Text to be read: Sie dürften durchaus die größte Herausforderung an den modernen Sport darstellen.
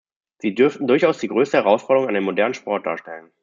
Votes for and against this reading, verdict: 2, 0, accepted